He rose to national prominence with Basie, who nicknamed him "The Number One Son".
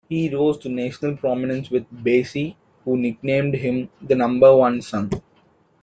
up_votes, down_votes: 2, 0